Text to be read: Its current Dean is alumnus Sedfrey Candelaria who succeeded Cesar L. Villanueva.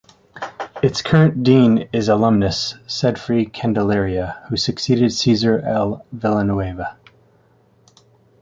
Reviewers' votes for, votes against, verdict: 2, 0, accepted